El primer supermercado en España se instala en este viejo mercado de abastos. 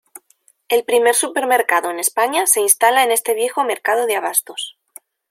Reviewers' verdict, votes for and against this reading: accepted, 2, 0